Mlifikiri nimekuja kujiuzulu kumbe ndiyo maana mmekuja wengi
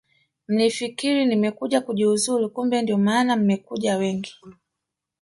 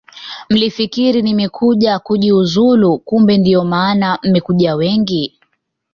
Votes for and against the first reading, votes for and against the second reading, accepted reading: 0, 2, 2, 0, second